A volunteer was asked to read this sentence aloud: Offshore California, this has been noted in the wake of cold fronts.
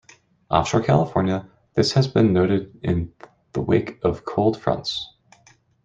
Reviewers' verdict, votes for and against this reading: rejected, 0, 2